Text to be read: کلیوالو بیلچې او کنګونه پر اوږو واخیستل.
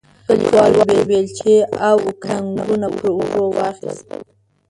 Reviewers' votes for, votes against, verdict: 1, 2, rejected